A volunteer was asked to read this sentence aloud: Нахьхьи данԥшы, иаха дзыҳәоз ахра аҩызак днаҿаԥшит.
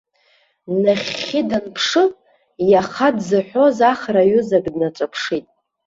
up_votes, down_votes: 2, 0